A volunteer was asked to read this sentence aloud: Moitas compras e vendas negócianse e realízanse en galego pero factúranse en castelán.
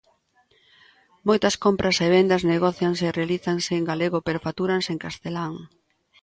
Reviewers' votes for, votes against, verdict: 2, 0, accepted